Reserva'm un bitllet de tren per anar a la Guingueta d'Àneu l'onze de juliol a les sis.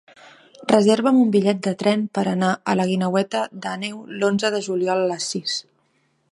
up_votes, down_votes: 0, 2